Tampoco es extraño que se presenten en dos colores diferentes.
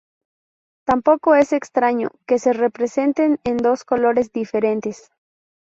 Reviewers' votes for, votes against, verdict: 2, 2, rejected